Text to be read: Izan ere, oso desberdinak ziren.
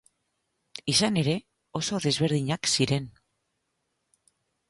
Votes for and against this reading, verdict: 4, 0, accepted